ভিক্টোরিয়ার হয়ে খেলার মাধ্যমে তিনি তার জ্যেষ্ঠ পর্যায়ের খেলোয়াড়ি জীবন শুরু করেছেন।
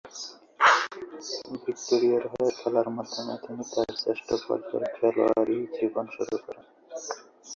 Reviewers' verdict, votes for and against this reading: accepted, 4, 3